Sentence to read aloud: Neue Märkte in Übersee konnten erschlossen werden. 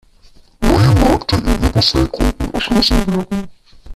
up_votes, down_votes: 1, 2